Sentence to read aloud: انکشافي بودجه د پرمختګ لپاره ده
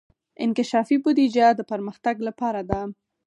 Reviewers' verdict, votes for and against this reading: rejected, 2, 4